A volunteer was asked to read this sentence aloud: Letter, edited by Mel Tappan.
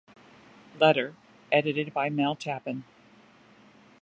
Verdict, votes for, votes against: accepted, 2, 0